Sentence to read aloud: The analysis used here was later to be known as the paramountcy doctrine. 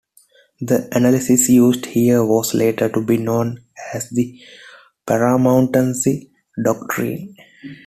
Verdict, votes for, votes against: rejected, 1, 2